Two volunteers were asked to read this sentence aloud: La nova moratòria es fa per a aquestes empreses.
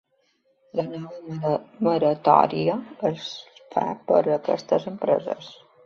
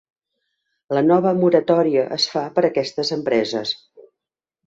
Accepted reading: second